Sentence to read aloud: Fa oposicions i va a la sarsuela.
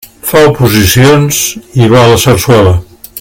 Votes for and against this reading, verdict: 2, 0, accepted